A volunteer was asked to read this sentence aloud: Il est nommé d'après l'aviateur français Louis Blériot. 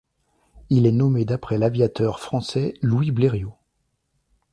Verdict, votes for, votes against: accepted, 2, 0